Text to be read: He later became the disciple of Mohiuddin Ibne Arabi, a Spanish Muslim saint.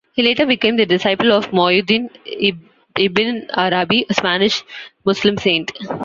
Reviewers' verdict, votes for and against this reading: rejected, 1, 2